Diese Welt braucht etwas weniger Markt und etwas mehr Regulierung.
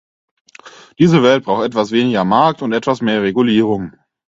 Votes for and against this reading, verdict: 4, 2, accepted